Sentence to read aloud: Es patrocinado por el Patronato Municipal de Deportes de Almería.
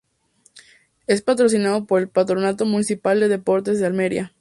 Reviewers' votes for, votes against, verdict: 2, 0, accepted